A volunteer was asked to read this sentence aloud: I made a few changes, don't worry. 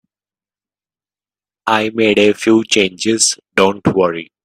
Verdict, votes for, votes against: accepted, 2, 0